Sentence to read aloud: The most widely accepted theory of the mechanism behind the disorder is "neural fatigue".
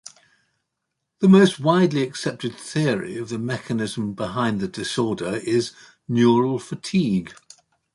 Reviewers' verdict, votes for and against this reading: accepted, 2, 0